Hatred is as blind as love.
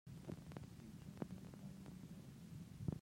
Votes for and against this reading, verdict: 0, 2, rejected